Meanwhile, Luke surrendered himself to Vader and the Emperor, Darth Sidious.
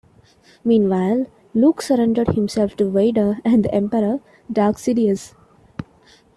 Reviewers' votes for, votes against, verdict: 1, 2, rejected